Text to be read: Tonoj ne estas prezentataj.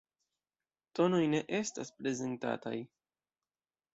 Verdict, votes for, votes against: rejected, 1, 2